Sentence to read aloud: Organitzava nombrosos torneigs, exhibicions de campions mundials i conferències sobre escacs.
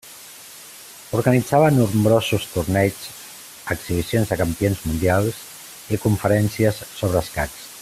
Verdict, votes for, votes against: accepted, 2, 1